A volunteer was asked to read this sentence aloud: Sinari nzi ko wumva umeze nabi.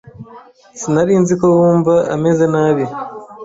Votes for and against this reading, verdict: 1, 2, rejected